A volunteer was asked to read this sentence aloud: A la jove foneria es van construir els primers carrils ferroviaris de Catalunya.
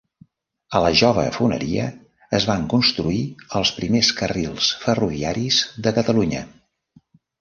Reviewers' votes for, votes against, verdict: 2, 0, accepted